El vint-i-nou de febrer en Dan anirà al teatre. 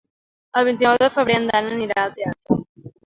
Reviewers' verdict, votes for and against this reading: accepted, 3, 0